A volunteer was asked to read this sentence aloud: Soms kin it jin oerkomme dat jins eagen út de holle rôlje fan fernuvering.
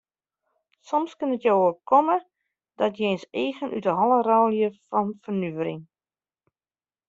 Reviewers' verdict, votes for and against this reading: rejected, 1, 2